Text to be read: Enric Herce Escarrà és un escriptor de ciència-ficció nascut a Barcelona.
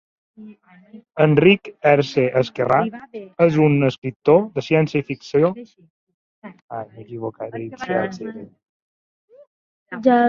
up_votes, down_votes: 0, 2